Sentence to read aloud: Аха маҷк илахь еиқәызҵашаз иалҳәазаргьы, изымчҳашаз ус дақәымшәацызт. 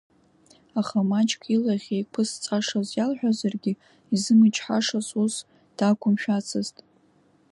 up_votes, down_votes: 2, 0